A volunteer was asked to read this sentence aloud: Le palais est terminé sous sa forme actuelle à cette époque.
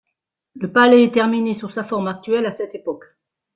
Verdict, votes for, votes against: rejected, 1, 2